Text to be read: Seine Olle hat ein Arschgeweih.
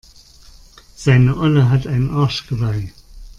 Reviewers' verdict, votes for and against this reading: accepted, 2, 0